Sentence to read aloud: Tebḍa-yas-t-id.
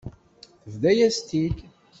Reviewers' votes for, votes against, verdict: 1, 2, rejected